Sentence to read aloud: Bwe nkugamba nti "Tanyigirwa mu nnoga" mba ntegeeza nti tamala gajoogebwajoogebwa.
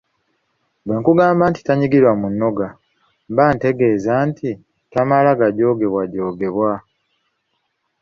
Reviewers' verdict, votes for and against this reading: accepted, 2, 0